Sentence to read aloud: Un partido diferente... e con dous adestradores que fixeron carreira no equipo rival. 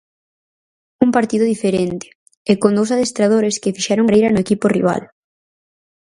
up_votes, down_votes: 2, 4